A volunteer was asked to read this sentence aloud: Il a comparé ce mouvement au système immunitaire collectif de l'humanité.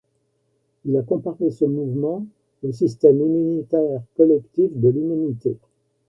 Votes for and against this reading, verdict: 2, 1, accepted